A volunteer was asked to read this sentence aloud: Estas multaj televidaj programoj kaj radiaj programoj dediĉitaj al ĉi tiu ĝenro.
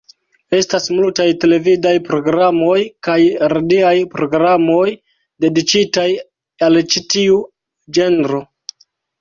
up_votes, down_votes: 1, 2